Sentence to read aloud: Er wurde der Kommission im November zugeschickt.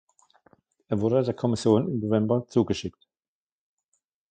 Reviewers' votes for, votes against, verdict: 1, 2, rejected